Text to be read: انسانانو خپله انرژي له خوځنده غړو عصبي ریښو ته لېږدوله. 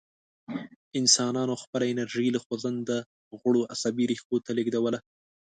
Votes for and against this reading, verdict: 2, 0, accepted